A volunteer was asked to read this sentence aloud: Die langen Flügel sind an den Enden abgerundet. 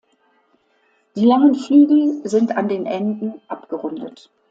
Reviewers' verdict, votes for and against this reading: accepted, 2, 0